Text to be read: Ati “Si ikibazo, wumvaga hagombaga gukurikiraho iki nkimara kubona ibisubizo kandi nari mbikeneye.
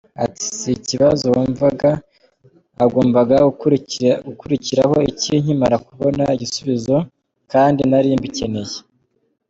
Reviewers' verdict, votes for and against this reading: rejected, 0, 2